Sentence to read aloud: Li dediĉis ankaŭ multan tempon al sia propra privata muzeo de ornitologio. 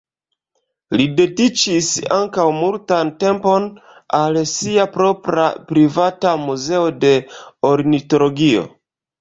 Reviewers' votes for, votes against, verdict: 2, 0, accepted